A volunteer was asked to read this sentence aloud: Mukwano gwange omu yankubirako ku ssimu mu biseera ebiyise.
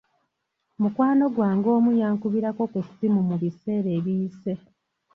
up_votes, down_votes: 3, 0